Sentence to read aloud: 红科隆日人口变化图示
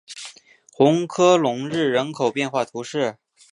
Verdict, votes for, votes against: accepted, 2, 0